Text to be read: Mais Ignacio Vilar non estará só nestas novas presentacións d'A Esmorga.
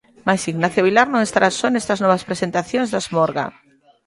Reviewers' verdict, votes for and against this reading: rejected, 1, 2